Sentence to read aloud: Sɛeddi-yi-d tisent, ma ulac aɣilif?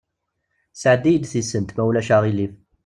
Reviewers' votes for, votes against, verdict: 2, 0, accepted